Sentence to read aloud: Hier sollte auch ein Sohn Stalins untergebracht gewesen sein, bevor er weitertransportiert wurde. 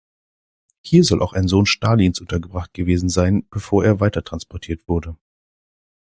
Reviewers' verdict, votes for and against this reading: rejected, 0, 2